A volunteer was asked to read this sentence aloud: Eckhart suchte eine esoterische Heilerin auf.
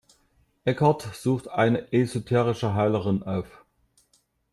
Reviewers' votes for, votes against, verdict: 1, 2, rejected